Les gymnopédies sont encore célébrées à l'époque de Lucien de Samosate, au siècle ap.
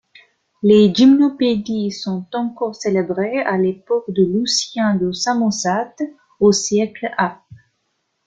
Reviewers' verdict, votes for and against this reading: rejected, 0, 2